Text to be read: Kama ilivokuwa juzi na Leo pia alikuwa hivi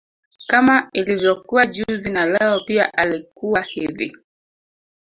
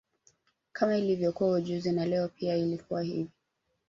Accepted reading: first